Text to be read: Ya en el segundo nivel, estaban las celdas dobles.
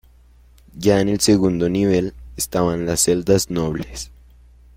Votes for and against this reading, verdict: 0, 2, rejected